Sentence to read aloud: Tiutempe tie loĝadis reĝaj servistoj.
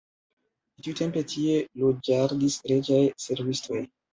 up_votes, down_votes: 2, 1